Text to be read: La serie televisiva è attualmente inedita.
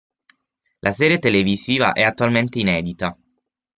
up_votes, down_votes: 6, 0